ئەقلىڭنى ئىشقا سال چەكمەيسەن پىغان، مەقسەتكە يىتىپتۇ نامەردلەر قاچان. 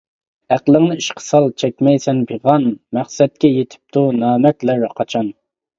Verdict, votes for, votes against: accepted, 2, 0